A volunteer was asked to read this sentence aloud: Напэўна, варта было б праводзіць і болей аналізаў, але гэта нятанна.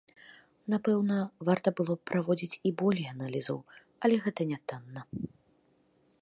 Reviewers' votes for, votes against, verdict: 2, 0, accepted